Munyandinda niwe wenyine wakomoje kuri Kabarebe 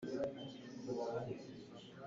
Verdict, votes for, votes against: rejected, 0, 2